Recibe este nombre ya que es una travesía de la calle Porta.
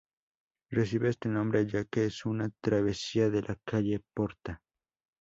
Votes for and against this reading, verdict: 2, 0, accepted